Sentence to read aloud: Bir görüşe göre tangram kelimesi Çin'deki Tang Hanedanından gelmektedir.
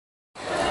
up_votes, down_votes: 0, 2